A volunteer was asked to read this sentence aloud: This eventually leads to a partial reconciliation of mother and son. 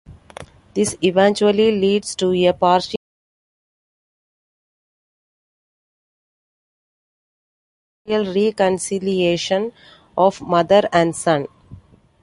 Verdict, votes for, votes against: rejected, 0, 2